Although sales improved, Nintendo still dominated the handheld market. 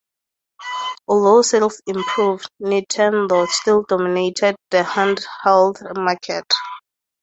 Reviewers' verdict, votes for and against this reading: accepted, 2, 0